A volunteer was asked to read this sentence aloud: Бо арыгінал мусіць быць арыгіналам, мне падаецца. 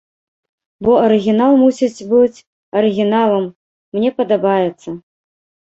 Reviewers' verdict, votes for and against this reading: rejected, 1, 2